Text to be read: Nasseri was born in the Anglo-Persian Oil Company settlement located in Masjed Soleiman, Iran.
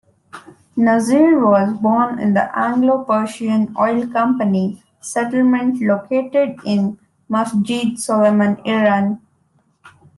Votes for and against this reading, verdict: 2, 0, accepted